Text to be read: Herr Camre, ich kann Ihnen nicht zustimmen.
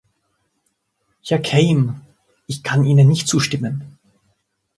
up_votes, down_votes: 0, 2